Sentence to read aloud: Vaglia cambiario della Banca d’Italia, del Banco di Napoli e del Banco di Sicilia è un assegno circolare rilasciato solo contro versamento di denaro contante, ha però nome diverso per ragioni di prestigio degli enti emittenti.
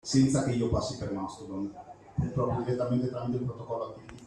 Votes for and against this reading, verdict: 0, 2, rejected